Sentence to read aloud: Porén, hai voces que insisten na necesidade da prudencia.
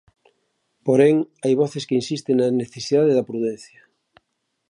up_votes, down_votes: 2, 0